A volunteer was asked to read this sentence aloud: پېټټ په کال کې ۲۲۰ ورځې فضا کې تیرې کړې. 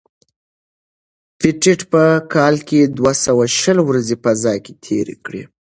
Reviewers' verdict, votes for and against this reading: rejected, 0, 2